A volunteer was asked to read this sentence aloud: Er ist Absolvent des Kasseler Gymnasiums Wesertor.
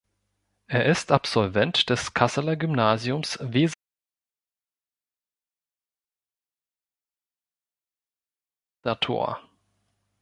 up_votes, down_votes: 1, 3